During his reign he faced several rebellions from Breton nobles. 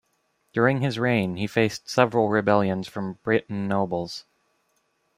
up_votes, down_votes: 2, 0